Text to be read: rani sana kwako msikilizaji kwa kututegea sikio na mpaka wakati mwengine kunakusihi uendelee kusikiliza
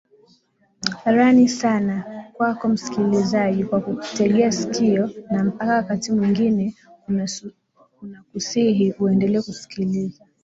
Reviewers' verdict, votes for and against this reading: rejected, 0, 2